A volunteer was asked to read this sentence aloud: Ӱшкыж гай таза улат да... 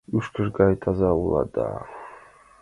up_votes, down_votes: 2, 1